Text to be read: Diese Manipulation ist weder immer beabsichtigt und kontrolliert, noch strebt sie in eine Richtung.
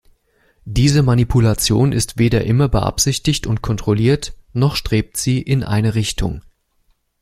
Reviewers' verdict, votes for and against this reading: accepted, 2, 0